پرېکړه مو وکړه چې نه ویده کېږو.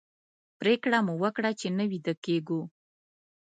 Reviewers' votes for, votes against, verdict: 2, 0, accepted